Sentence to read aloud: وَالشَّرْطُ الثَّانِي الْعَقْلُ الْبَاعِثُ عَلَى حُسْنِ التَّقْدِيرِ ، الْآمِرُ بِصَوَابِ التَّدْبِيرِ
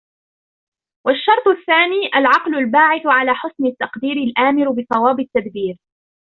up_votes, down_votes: 0, 2